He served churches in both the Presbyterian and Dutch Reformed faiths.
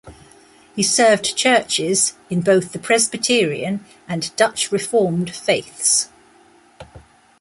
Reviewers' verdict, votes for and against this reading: accepted, 2, 0